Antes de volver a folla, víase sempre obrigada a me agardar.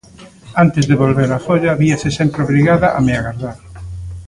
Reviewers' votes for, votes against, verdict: 1, 2, rejected